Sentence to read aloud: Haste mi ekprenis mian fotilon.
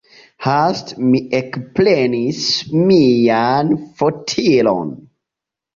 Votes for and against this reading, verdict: 0, 2, rejected